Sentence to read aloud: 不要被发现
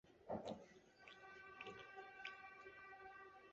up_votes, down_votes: 4, 5